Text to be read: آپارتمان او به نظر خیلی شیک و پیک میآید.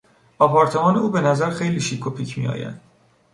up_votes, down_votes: 3, 0